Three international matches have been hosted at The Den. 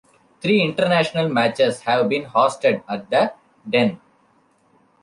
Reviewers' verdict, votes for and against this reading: accepted, 2, 0